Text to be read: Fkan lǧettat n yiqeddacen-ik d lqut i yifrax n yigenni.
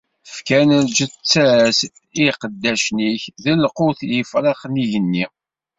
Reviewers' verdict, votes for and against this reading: rejected, 1, 2